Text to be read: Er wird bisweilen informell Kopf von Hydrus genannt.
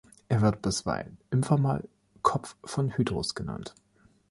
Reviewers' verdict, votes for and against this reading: accepted, 2, 1